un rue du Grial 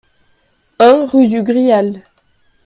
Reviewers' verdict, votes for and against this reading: accepted, 4, 1